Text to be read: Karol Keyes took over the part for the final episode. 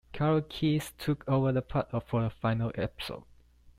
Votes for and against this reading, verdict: 2, 0, accepted